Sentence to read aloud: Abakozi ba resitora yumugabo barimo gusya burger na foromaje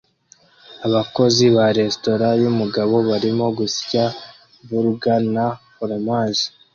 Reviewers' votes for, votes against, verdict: 2, 0, accepted